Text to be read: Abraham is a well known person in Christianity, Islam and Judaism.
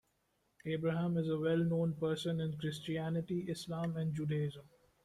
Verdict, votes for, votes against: accepted, 2, 0